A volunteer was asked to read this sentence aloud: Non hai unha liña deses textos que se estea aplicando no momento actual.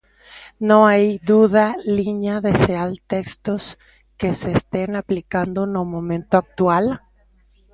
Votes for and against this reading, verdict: 0, 2, rejected